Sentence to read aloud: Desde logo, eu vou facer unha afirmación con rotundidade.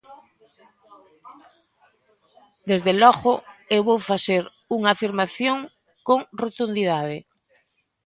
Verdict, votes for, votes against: accepted, 2, 1